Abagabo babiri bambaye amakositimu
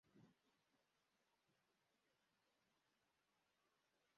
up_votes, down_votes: 0, 2